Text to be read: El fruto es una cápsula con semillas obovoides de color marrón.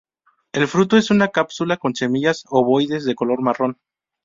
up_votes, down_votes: 2, 2